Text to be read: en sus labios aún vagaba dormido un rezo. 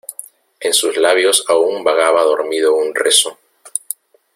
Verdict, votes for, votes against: rejected, 0, 2